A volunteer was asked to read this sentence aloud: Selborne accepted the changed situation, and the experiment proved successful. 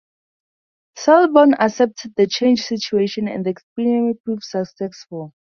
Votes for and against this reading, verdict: 2, 2, rejected